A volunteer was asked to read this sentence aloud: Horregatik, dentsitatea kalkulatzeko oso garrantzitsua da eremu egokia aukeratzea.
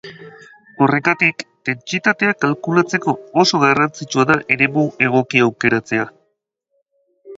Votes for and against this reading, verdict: 4, 0, accepted